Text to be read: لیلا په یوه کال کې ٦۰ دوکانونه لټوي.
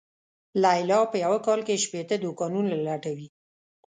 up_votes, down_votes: 0, 2